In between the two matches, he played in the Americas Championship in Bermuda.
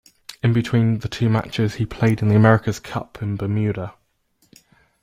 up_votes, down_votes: 0, 2